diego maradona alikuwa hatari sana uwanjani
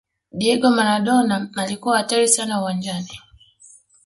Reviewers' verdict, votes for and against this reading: accepted, 2, 0